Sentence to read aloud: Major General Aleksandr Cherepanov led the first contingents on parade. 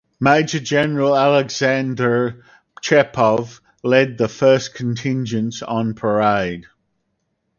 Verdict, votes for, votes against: rejected, 0, 4